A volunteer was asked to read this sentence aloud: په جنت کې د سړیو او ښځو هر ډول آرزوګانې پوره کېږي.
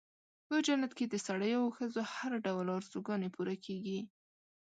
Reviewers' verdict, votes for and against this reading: accepted, 2, 0